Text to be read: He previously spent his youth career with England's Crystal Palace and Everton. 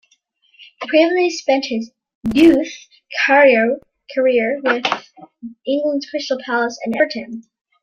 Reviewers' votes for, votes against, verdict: 1, 2, rejected